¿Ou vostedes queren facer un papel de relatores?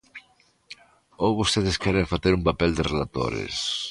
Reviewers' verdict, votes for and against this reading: accepted, 2, 0